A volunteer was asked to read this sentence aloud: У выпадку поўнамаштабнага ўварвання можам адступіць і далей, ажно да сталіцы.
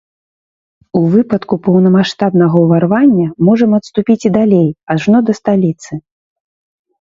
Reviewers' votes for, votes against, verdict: 2, 0, accepted